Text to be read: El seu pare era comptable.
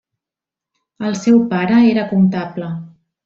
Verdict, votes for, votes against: rejected, 1, 2